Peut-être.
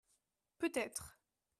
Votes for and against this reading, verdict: 2, 0, accepted